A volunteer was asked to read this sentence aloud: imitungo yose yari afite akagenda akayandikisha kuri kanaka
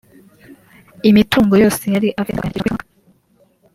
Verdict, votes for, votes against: rejected, 0, 2